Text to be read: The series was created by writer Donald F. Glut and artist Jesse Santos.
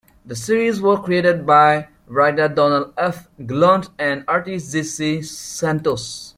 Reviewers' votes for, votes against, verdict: 2, 1, accepted